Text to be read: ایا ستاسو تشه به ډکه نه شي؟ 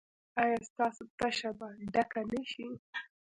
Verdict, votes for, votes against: rejected, 1, 3